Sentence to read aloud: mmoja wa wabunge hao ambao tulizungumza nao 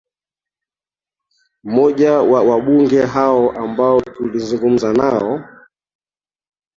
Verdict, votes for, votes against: accepted, 2, 1